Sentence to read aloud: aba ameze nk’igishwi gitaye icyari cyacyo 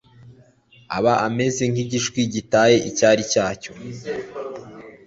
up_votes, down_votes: 2, 0